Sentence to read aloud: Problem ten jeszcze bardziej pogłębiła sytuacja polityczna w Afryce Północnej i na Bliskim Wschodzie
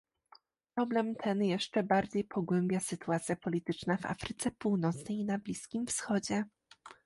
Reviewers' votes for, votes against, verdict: 1, 2, rejected